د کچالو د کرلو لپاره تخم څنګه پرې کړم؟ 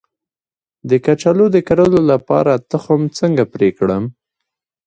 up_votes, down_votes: 2, 1